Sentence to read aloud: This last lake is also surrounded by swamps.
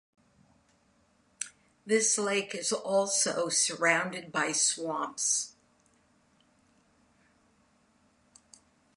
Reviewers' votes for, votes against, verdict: 0, 2, rejected